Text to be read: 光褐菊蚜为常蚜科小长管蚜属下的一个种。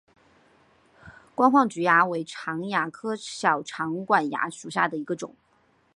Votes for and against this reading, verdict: 2, 0, accepted